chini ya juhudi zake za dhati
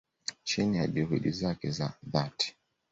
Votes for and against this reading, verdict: 2, 0, accepted